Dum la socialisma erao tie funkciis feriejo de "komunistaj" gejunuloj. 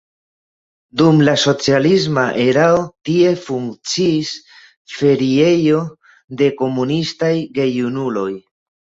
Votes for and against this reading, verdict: 2, 0, accepted